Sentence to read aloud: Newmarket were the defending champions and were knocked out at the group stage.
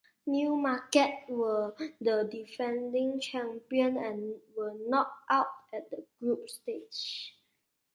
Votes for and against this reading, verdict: 2, 1, accepted